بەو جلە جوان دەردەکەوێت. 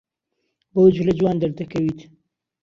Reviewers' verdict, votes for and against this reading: rejected, 0, 2